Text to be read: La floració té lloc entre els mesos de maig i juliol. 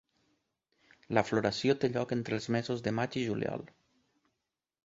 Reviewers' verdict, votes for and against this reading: rejected, 1, 2